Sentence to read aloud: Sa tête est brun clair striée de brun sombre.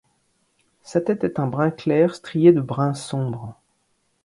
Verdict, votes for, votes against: rejected, 1, 2